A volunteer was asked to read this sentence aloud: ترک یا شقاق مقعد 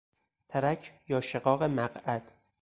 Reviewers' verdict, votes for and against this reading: accepted, 4, 0